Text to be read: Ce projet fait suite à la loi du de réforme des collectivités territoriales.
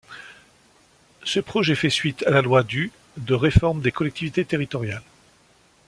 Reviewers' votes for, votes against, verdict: 2, 0, accepted